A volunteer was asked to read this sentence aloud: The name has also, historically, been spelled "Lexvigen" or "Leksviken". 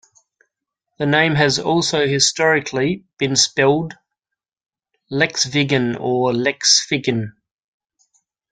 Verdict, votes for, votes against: accepted, 2, 0